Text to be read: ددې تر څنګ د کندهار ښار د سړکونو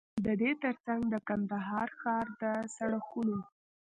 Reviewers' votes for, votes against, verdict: 2, 0, accepted